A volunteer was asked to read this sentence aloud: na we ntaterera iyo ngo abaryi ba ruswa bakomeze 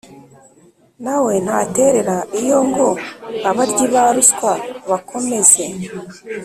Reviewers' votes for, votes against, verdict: 4, 0, accepted